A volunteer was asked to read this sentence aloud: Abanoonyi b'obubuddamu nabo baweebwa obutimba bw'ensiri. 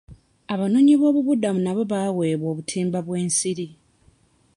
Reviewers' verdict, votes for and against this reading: rejected, 1, 2